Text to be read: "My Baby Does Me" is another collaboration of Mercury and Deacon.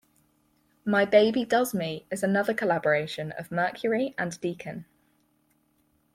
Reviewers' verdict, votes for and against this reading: accepted, 4, 0